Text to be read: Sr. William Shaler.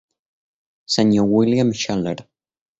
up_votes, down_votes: 2, 0